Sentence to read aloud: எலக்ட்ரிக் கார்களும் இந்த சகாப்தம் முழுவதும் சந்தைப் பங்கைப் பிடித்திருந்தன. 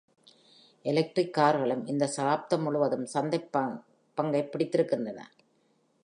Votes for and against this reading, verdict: 1, 2, rejected